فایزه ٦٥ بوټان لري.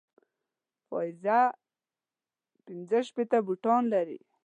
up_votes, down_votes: 0, 2